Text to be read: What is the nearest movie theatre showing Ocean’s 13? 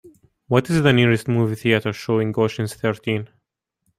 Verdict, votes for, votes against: rejected, 0, 2